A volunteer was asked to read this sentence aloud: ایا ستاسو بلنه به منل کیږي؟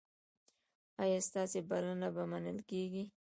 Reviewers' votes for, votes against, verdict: 2, 1, accepted